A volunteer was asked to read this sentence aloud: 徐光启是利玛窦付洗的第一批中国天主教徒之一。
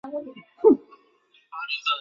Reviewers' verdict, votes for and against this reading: rejected, 0, 2